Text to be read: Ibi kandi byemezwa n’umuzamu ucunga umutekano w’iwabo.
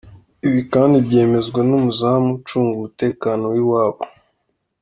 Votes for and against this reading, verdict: 2, 0, accepted